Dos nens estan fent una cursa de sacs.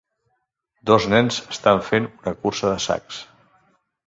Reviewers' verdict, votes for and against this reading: rejected, 1, 2